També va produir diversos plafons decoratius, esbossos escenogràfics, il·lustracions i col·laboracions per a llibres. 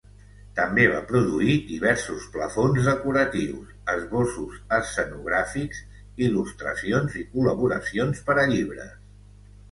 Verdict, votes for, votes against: accepted, 3, 0